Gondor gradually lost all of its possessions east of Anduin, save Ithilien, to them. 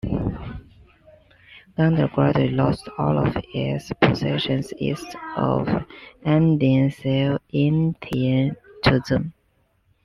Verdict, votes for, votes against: rejected, 0, 2